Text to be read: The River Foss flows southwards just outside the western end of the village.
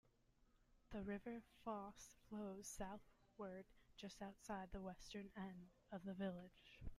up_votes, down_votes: 2, 1